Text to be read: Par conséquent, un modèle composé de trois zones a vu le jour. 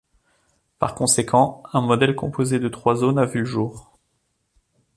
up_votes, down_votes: 2, 1